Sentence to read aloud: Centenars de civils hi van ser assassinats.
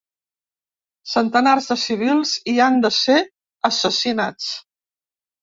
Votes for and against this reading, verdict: 1, 2, rejected